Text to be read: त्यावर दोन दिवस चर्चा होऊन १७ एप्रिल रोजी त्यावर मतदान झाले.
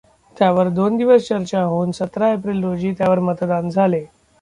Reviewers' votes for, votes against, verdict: 0, 2, rejected